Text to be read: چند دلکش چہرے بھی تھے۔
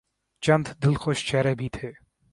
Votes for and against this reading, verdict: 3, 0, accepted